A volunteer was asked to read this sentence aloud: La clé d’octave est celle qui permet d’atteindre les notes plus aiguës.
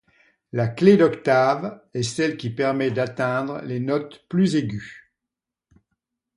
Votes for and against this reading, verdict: 2, 0, accepted